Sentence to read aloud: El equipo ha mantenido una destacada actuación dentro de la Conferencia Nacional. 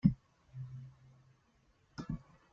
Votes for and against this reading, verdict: 1, 2, rejected